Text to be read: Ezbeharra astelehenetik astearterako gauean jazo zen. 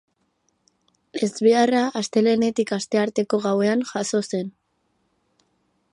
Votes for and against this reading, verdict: 2, 4, rejected